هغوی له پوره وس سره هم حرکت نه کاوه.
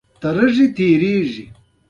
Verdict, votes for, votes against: rejected, 0, 2